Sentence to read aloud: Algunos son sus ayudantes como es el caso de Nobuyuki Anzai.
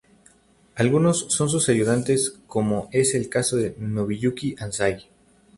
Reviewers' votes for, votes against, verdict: 4, 0, accepted